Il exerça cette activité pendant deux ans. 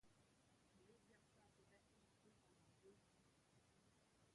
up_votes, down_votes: 0, 2